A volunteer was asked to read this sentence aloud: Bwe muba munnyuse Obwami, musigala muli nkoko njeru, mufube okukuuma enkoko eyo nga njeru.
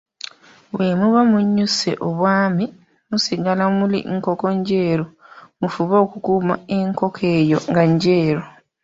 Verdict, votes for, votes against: accepted, 2, 1